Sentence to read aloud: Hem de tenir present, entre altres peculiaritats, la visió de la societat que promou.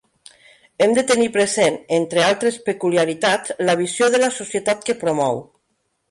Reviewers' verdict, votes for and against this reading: accepted, 3, 1